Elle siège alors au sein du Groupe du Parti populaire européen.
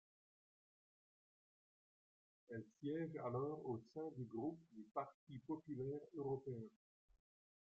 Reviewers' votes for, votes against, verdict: 1, 2, rejected